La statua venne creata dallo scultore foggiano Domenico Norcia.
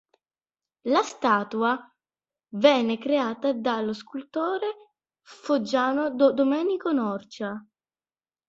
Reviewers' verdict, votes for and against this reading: rejected, 1, 2